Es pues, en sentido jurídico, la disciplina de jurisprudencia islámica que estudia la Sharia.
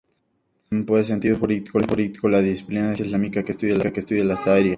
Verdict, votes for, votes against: rejected, 0, 2